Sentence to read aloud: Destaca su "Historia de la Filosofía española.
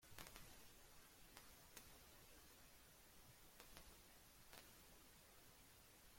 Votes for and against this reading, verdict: 0, 2, rejected